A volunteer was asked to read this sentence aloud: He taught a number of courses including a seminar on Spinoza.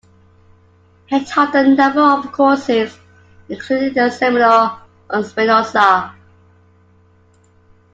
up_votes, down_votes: 2, 1